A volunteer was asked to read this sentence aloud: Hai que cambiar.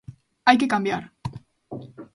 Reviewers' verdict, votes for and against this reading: accepted, 2, 0